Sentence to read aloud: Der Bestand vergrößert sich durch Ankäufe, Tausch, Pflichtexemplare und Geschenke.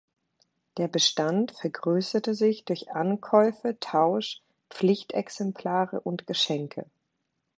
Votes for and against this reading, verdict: 1, 2, rejected